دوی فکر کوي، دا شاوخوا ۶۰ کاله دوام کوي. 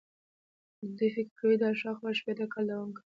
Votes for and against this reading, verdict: 0, 2, rejected